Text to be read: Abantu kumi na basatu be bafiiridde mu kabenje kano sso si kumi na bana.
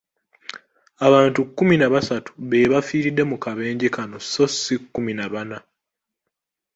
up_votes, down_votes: 2, 1